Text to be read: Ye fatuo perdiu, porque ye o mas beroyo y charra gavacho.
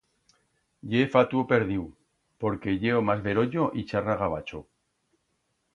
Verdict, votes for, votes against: accepted, 2, 0